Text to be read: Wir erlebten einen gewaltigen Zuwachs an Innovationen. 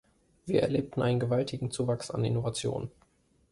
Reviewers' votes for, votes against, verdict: 2, 0, accepted